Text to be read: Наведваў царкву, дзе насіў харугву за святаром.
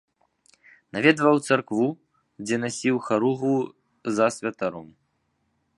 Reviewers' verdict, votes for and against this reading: accepted, 2, 0